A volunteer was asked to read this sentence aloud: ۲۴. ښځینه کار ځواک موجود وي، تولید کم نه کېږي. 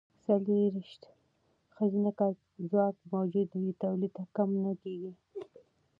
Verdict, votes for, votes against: rejected, 0, 2